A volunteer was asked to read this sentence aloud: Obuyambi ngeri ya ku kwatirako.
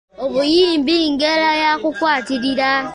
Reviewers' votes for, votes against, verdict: 0, 2, rejected